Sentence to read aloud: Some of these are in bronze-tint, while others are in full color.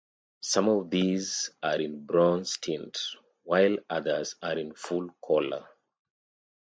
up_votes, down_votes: 2, 0